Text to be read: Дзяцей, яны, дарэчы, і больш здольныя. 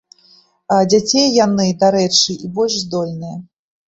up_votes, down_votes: 1, 2